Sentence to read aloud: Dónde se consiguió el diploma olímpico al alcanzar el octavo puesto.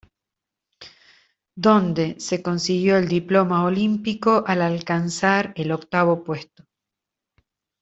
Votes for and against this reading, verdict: 0, 2, rejected